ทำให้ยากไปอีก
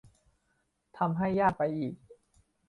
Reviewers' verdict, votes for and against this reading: accepted, 2, 0